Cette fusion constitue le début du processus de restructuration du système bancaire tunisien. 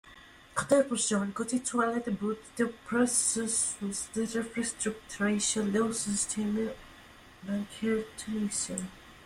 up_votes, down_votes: 0, 2